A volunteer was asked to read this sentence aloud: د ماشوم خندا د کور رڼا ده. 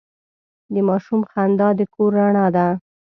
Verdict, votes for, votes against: accepted, 2, 0